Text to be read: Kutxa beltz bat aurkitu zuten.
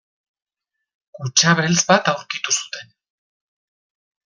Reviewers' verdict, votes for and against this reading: rejected, 0, 2